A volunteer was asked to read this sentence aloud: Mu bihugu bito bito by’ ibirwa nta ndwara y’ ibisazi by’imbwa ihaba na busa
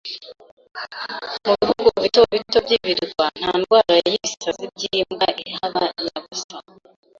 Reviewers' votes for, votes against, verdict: 0, 2, rejected